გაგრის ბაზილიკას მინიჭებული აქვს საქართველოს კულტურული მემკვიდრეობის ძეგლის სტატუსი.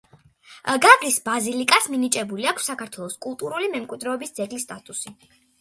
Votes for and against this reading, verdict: 2, 1, accepted